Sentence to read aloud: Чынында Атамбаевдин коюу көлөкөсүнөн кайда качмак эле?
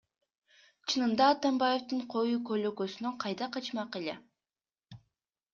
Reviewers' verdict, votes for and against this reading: accepted, 2, 0